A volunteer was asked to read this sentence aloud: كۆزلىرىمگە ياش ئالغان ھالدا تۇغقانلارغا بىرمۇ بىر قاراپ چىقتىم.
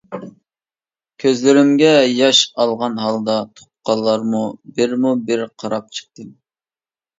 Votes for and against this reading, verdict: 0, 2, rejected